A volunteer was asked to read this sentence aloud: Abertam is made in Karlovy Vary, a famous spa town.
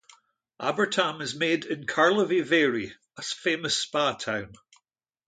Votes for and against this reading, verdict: 1, 2, rejected